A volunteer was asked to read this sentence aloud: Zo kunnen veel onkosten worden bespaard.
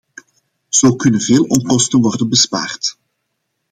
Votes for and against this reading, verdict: 2, 0, accepted